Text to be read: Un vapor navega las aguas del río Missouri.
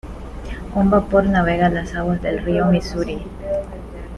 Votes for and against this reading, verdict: 0, 2, rejected